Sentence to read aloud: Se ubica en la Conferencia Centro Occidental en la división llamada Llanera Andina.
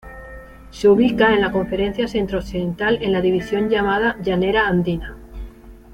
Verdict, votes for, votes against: accepted, 2, 0